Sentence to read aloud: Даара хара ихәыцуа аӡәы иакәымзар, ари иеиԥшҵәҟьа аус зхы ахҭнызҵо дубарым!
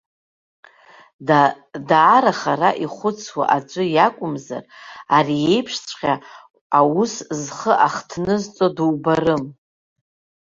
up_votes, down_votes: 1, 2